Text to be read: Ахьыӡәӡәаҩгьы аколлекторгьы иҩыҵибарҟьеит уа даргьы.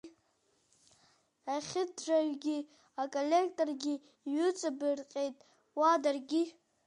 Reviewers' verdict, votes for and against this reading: rejected, 1, 2